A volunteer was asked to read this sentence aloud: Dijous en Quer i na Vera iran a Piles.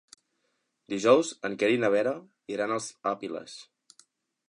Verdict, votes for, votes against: rejected, 0, 2